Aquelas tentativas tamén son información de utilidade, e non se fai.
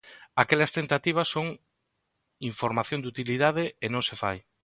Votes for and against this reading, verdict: 0, 2, rejected